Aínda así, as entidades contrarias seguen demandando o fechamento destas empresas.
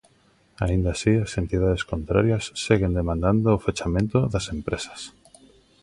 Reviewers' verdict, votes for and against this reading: rejected, 0, 2